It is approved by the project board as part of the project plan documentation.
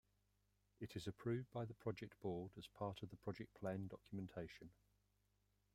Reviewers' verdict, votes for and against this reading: rejected, 0, 2